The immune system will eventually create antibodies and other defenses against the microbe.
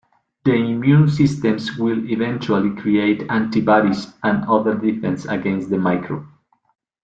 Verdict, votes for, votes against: rejected, 1, 2